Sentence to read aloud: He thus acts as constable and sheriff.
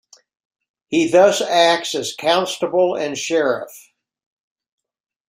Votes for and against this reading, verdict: 2, 0, accepted